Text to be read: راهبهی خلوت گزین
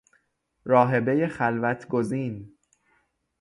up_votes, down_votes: 3, 0